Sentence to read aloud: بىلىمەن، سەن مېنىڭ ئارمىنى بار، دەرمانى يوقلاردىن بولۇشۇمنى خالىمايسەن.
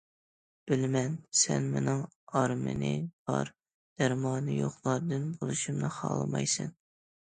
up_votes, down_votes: 2, 0